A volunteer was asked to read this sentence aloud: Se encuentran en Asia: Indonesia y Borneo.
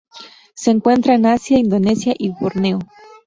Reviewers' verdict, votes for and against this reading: rejected, 0, 2